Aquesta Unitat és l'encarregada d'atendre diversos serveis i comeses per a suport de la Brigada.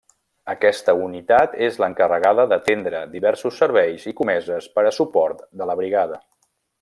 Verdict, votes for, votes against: accepted, 3, 0